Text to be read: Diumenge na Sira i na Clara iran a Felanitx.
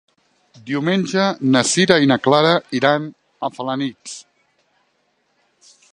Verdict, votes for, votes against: accepted, 2, 0